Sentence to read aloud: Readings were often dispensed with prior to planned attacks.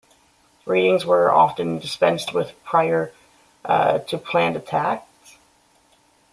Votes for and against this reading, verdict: 1, 2, rejected